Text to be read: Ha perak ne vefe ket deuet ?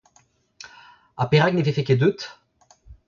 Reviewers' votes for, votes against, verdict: 2, 0, accepted